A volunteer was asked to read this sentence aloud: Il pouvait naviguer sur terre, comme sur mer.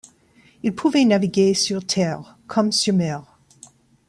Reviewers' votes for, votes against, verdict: 1, 2, rejected